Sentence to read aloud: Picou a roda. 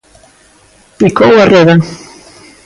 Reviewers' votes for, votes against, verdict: 2, 1, accepted